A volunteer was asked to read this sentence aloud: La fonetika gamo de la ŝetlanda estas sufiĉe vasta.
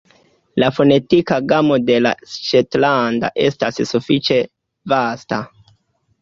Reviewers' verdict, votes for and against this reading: rejected, 0, 2